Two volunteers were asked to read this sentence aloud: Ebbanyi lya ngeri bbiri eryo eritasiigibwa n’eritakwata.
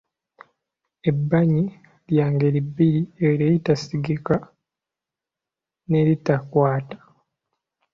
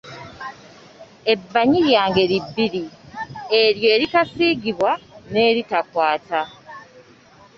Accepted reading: second